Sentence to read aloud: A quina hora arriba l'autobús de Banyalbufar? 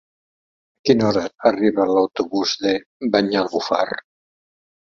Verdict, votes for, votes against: rejected, 1, 2